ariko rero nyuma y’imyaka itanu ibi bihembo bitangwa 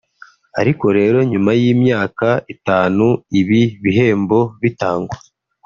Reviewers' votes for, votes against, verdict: 2, 0, accepted